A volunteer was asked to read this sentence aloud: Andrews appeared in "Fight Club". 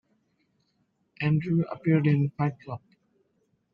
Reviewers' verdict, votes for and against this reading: rejected, 0, 2